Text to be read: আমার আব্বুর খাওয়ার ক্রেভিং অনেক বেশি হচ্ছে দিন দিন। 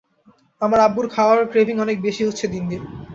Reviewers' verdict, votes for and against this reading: accepted, 2, 0